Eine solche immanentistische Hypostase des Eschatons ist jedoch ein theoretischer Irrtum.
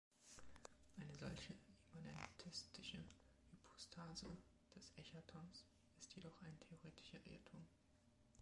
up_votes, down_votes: 2, 0